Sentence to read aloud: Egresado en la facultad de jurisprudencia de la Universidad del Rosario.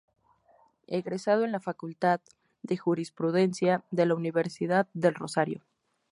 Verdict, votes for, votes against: rejected, 2, 2